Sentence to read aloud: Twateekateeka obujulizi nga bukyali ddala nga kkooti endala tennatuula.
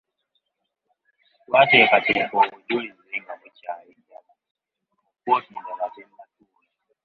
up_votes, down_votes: 0, 2